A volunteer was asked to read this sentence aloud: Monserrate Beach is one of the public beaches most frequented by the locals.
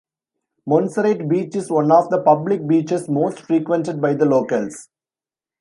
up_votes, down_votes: 2, 0